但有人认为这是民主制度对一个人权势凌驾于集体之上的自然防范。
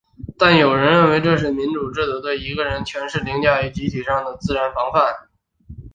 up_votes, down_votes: 4, 1